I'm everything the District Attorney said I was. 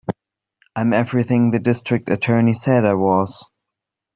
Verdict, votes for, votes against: accepted, 2, 0